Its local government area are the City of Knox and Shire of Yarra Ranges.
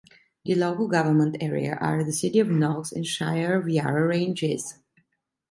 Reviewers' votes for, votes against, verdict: 1, 2, rejected